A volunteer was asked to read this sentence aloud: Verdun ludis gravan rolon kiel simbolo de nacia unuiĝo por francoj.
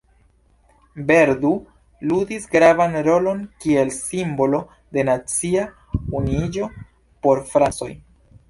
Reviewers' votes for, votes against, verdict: 2, 0, accepted